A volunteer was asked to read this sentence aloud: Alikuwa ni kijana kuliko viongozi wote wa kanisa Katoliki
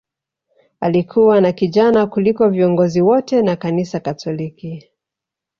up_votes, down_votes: 2, 3